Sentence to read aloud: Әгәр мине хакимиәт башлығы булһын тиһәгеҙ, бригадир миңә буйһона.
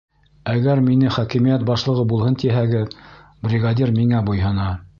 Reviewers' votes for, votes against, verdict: 2, 1, accepted